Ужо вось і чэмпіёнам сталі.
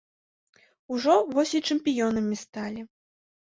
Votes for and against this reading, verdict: 2, 1, accepted